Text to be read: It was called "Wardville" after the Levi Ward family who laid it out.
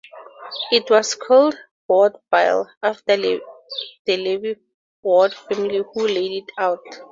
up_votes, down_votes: 0, 4